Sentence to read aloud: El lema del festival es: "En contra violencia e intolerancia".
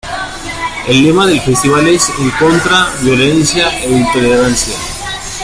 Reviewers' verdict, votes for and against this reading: accepted, 2, 1